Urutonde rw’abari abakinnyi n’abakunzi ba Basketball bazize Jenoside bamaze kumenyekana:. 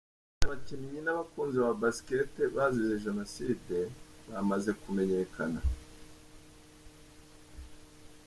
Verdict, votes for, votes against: rejected, 1, 2